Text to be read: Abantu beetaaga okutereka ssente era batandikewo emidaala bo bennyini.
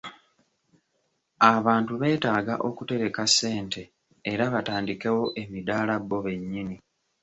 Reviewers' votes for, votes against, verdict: 2, 0, accepted